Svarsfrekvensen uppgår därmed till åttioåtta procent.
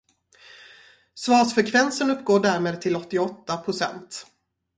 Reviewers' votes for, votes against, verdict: 2, 2, rejected